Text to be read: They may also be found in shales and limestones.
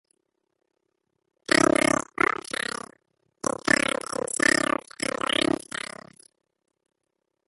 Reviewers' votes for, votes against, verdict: 0, 2, rejected